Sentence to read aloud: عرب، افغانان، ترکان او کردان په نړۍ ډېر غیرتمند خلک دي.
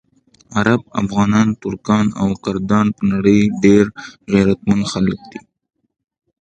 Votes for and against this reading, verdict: 2, 0, accepted